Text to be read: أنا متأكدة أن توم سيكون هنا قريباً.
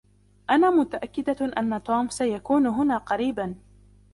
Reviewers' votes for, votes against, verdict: 2, 0, accepted